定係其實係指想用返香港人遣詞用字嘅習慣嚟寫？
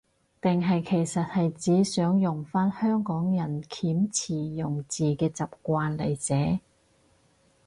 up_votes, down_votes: 0, 2